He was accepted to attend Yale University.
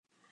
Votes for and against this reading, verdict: 1, 2, rejected